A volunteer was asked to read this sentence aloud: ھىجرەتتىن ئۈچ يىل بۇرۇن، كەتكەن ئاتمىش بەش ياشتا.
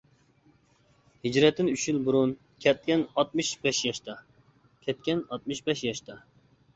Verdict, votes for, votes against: rejected, 0, 2